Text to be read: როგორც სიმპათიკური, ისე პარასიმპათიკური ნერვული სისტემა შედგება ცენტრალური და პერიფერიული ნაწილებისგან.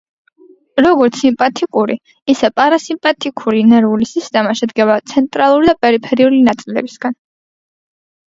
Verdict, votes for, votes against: rejected, 1, 2